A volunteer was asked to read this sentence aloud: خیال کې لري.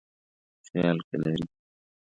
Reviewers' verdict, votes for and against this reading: rejected, 1, 2